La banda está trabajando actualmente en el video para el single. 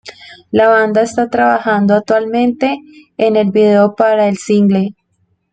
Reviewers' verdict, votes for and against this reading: accepted, 2, 0